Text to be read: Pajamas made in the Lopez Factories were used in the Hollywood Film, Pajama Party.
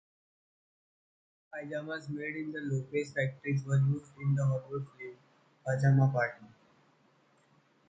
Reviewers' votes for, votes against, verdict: 2, 0, accepted